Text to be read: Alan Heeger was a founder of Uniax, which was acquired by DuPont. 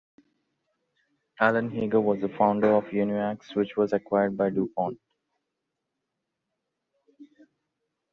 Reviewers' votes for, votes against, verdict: 1, 2, rejected